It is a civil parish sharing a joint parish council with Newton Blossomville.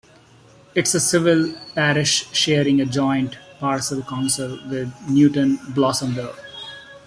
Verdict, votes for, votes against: rejected, 1, 2